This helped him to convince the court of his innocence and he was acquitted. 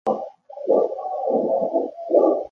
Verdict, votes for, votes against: rejected, 0, 2